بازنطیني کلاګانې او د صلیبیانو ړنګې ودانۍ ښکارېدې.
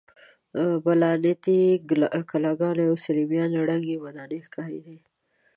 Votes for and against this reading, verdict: 0, 2, rejected